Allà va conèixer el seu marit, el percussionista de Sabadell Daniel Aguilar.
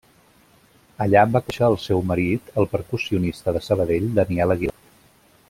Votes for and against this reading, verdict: 0, 2, rejected